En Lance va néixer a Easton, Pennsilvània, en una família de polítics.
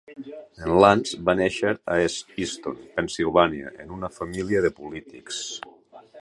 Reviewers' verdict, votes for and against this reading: rejected, 1, 3